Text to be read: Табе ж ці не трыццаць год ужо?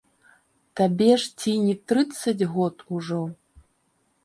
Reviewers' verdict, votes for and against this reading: accepted, 2, 0